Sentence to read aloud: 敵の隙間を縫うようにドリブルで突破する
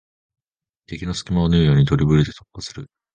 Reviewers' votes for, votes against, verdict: 0, 2, rejected